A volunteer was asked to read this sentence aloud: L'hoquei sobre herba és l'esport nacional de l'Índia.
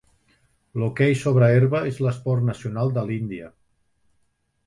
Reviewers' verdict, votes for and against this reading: accepted, 3, 0